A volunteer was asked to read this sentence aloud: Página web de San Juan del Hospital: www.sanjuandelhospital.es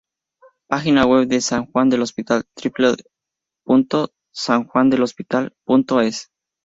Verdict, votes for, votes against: rejected, 0, 2